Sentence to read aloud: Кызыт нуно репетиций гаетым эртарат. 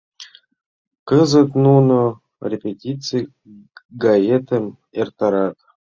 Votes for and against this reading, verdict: 0, 2, rejected